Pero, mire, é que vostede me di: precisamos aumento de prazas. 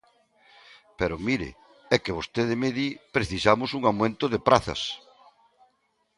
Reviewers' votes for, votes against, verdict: 1, 2, rejected